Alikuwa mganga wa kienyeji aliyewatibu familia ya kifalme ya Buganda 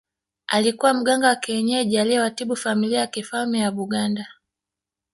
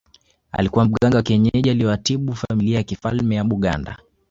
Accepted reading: second